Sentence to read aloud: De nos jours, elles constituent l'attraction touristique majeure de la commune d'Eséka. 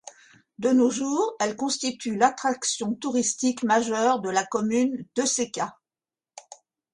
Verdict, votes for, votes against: rejected, 1, 2